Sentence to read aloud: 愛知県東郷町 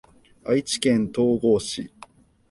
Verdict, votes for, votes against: rejected, 0, 2